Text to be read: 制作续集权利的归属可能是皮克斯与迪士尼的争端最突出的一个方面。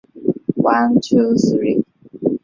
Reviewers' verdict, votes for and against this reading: rejected, 0, 2